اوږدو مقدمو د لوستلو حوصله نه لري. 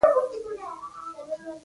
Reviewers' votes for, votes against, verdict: 0, 2, rejected